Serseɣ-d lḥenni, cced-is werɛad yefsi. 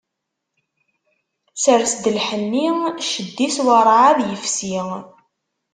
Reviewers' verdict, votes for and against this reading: rejected, 0, 2